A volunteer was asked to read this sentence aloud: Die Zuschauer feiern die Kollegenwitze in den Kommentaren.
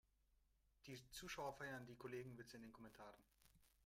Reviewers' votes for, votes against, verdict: 1, 2, rejected